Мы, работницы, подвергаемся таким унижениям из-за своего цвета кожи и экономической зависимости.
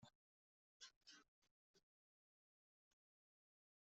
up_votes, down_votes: 0, 2